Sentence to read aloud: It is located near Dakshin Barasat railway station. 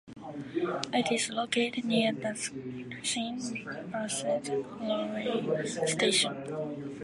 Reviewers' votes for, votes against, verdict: 2, 1, accepted